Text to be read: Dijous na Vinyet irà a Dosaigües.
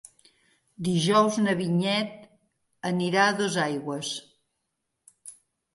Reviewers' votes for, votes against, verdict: 0, 2, rejected